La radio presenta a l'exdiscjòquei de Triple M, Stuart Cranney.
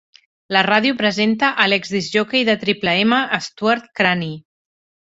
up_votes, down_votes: 4, 0